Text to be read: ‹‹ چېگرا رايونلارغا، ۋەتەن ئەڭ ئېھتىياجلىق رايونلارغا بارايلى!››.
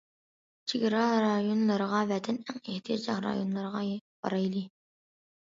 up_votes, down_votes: 0, 2